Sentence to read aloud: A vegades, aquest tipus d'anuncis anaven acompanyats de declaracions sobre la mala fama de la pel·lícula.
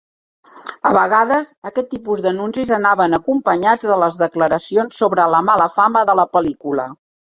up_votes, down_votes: 0, 2